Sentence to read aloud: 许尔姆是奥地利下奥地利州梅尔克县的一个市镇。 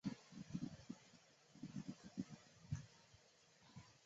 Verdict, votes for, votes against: rejected, 0, 3